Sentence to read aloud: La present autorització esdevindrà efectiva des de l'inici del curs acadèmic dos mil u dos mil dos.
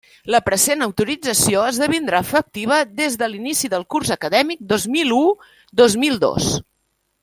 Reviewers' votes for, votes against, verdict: 0, 2, rejected